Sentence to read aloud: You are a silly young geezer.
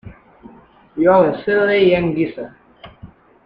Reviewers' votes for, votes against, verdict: 1, 2, rejected